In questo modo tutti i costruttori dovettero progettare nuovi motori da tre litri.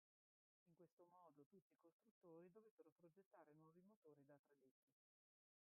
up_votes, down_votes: 0, 2